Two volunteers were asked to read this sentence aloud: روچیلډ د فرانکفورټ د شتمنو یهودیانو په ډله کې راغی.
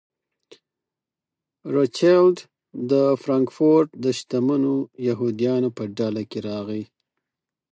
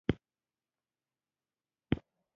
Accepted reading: first